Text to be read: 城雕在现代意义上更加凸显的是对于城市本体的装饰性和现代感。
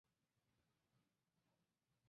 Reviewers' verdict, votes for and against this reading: rejected, 0, 2